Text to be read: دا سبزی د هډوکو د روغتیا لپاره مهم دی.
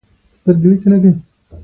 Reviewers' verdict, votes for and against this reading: rejected, 0, 2